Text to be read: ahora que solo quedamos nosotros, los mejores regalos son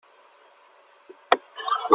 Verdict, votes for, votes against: rejected, 0, 2